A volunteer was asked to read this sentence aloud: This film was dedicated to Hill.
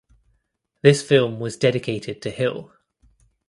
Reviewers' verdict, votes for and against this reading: accepted, 2, 0